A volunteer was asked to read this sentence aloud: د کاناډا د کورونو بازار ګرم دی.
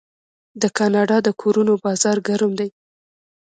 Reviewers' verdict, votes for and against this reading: accepted, 2, 0